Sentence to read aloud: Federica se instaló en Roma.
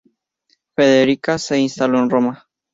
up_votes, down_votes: 2, 0